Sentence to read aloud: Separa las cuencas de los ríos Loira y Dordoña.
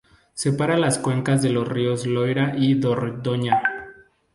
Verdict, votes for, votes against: rejected, 0, 2